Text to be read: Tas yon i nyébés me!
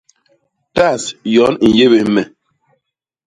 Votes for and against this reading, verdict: 0, 2, rejected